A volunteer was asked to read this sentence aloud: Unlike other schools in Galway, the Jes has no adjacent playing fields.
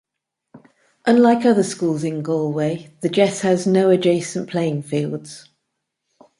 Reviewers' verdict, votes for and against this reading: accepted, 2, 0